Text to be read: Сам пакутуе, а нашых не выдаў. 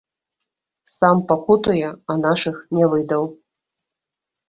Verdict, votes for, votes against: rejected, 0, 2